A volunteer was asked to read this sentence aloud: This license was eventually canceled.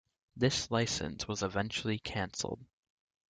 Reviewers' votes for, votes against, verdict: 2, 0, accepted